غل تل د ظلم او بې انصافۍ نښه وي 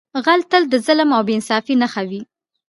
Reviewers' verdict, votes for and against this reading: rejected, 0, 2